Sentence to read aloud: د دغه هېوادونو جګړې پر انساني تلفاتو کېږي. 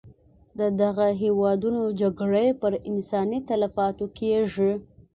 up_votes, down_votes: 2, 0